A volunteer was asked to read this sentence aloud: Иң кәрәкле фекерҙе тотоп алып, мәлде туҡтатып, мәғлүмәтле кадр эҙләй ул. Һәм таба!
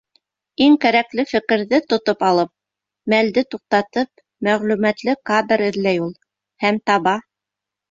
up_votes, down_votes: 2, 0